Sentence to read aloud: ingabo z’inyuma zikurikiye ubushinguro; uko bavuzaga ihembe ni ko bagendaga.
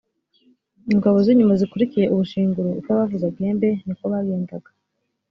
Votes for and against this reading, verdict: 2, 0, accepted